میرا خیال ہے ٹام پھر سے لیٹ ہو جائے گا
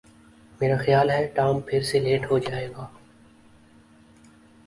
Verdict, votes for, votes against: accepted, 2, 0